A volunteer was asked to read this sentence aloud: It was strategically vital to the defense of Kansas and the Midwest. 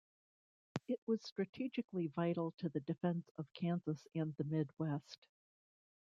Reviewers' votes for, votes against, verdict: 1, 2, rejected